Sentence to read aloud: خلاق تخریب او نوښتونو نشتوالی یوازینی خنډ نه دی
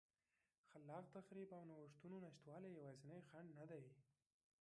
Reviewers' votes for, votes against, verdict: 1, 2, rejected